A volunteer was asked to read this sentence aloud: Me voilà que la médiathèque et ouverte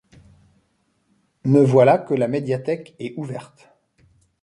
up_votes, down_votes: 2, 0